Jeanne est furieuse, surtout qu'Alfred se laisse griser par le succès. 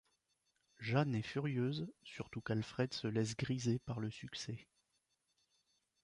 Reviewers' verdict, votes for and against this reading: accepted, 2, 0